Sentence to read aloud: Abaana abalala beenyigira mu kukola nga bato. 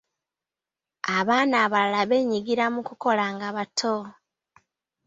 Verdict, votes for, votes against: accepted, 2, 0